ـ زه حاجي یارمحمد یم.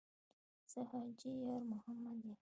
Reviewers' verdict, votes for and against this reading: accepted, 2, 0